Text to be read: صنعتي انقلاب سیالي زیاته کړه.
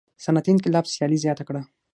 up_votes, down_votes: 3, 6